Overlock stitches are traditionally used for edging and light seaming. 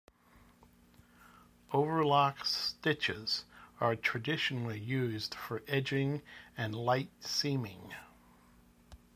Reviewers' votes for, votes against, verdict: 2, 0, accepted